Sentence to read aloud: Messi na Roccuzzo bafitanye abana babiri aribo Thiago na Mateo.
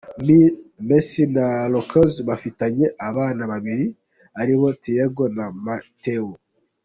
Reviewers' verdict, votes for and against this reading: accepted, 2, 1